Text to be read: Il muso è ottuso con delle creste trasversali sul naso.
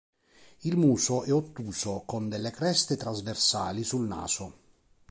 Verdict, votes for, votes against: accepted, 4, 0